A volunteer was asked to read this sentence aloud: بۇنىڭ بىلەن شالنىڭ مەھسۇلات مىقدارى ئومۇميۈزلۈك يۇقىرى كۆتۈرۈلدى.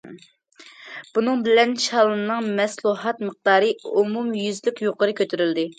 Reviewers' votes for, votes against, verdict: 0, 2, rejected